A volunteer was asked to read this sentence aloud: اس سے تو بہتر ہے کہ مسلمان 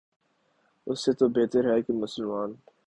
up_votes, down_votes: 2, 0